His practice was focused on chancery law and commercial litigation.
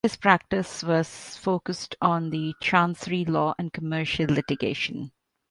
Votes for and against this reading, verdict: 0, 2, rejected